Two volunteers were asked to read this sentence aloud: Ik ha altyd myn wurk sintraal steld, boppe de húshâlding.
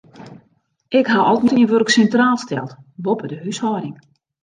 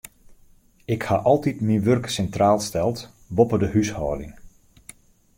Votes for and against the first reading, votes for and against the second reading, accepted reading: 0, 2, 2, 0, second